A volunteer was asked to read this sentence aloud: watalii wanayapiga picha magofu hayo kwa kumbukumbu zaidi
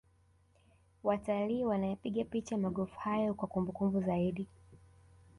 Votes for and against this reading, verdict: 2, 0, accepted